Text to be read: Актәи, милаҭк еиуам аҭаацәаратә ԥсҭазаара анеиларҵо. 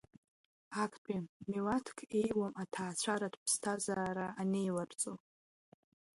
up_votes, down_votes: 1, 2